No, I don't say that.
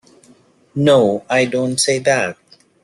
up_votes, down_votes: 2, 0